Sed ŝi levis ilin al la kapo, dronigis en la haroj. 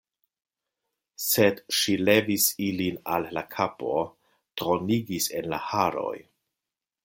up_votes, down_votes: 2, 0